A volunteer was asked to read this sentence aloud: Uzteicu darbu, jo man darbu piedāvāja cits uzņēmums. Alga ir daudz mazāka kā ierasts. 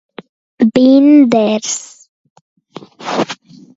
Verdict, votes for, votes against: rejected, 0, 2